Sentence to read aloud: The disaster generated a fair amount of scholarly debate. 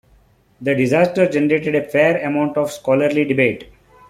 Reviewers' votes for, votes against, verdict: 2, 0, accepted